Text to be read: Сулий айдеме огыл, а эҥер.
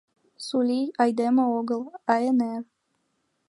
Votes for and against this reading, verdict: 3, 2, accepted